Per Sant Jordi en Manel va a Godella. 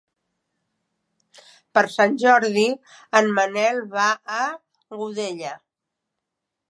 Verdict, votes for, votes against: accepted, 3, 0